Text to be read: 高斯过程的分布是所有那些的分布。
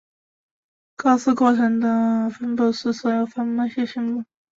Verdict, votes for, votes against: rejected, 0, 2